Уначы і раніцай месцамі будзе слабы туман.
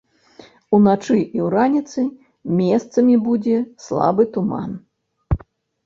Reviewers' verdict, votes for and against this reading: rejected, 0, 2